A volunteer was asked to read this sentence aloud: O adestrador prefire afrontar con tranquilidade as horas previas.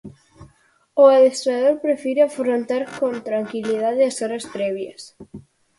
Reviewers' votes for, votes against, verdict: 4, 0, accepted